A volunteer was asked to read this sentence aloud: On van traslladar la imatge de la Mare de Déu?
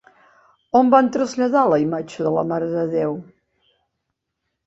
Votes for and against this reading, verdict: 3, 0, accepted